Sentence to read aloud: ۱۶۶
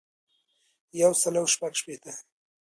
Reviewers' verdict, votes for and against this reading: rejected, 0, 2